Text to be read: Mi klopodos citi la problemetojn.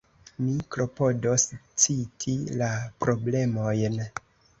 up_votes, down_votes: 1, 2